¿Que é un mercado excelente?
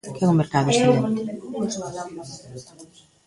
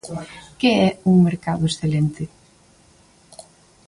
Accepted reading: second